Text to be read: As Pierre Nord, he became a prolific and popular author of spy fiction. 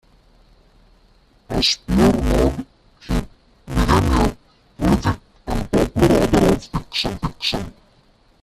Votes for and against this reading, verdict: 0, 2, rejected